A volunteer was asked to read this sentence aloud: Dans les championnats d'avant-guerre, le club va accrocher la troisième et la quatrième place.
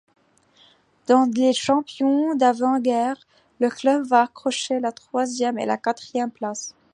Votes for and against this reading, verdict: 0, 2, rejected